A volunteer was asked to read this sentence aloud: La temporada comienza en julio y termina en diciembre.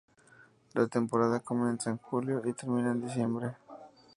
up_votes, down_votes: 2, 2